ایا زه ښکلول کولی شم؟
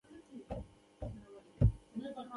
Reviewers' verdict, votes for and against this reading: accepted, 2, 0